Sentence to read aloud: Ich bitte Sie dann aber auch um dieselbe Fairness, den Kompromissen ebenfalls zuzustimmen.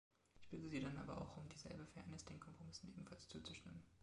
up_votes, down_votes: 0, 2